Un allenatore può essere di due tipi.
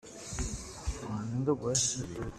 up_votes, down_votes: 0, 2